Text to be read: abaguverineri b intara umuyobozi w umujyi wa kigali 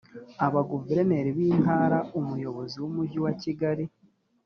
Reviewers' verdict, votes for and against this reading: accepted, 2, 0